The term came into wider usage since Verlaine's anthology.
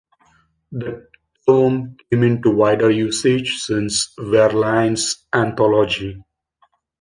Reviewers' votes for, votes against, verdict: 2, 1, accepted